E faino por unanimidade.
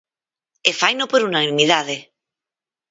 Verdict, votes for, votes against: rejected, 0, 4